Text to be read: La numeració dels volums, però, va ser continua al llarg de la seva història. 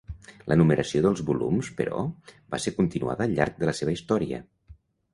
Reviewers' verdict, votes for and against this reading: rejected, 2, 3